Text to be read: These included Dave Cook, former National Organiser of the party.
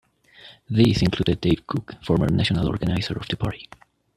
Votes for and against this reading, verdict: 2, 0, accepted